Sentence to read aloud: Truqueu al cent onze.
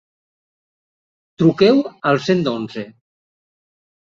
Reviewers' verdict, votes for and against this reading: rejected, 1, 2